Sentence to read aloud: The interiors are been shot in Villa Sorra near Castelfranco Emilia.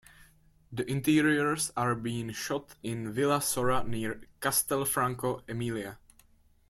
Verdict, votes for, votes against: rejected, 0, 2